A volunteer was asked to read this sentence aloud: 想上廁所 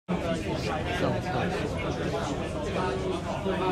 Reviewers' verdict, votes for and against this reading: rejected, 0, 2